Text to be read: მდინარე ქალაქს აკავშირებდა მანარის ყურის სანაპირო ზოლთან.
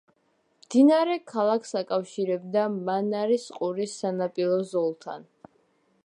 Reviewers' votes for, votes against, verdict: 2, 0, accepted